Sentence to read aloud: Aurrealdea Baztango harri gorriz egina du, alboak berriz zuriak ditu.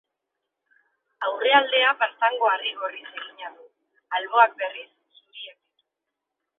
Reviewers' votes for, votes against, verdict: 2, 3, rejected